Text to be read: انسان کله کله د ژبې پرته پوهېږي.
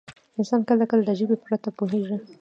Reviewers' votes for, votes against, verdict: 1, 2, rejected